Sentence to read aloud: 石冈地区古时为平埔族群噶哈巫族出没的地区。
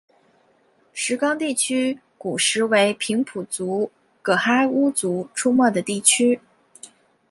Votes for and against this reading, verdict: 3, 1, accepted